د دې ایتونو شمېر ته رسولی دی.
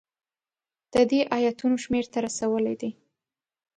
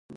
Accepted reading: first